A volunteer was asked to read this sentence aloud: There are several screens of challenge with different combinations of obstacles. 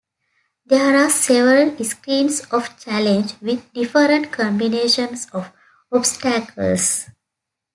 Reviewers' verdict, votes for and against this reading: accepted, 2, 0